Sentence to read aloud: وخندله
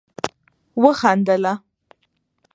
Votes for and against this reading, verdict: 1, 2, rejected